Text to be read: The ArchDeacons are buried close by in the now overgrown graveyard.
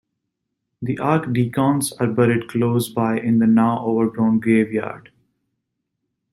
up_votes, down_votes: 0, 2